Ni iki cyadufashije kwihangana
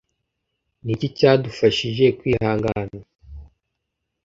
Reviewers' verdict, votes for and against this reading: accepted, 2, 0